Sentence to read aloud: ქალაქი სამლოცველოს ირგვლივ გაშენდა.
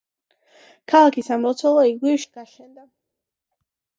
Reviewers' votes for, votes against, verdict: 0, 2, rejected